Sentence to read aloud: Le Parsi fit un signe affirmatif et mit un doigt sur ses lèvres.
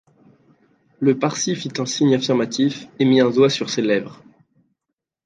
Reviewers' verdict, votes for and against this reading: accepted, 2, 0